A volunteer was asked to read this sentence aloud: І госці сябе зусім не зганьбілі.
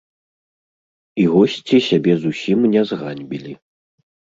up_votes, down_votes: 1, 2